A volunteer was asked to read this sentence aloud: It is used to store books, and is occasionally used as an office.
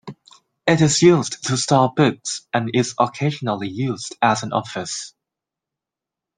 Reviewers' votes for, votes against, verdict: 2, 0, accepted